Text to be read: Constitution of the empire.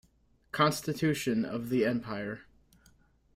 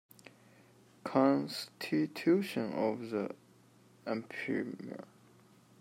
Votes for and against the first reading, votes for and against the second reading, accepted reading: 2, 0, 0, 2, first